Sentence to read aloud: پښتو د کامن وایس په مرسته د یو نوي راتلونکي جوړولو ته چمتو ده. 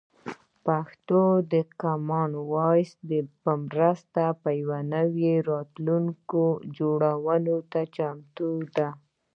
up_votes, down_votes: 2, 0